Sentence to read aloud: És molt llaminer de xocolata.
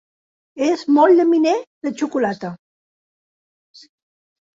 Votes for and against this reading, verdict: 2, 0, accepted